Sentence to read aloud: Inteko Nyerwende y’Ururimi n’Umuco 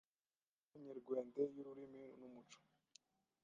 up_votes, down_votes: 1, 2